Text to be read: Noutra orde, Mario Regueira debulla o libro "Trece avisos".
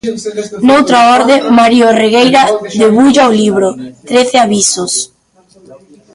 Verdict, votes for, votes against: rejected, 0, 2